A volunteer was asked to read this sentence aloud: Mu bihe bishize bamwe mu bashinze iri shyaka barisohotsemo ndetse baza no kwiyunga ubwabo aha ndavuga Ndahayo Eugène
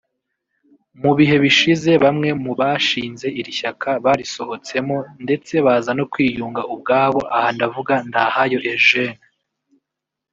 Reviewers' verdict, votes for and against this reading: rejected, 0, 2